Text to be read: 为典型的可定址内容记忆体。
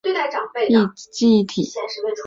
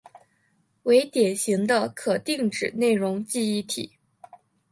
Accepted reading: second